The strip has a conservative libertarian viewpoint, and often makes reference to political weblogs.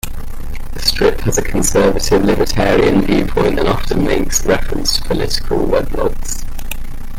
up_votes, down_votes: 0, 2